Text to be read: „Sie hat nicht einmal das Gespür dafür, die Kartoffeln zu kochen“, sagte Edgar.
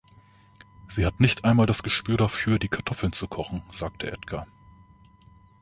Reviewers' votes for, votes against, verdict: 2, 0, accepted